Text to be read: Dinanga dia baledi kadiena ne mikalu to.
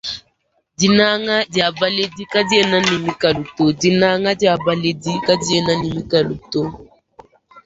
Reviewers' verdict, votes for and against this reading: rejected, 0, 2